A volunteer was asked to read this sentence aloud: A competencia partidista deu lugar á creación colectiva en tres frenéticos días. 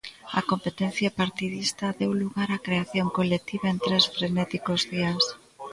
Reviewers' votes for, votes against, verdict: 2, 0, accepted